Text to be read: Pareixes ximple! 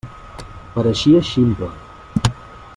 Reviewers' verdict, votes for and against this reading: rejected, 0, 2